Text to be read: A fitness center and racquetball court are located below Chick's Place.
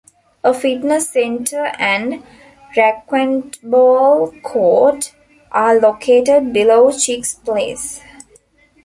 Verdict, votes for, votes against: rejected, 0, 2